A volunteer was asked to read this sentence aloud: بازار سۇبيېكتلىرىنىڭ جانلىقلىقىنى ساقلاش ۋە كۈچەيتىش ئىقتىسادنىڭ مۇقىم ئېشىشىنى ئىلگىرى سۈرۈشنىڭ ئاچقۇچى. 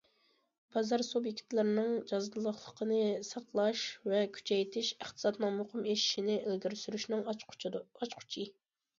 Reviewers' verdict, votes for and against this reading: rejected, 0, 2